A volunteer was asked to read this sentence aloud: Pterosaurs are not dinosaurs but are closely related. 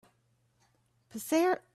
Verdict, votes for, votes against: rejected, 0, 2